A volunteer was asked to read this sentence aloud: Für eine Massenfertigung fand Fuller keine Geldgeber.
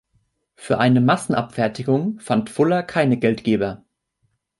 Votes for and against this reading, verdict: 0, 2, rejected